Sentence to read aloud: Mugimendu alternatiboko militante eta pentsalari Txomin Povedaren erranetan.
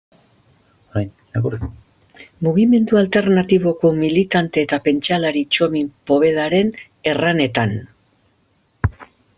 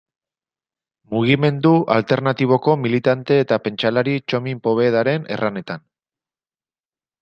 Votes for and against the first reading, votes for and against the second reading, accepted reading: 1, 2, 2, 0, second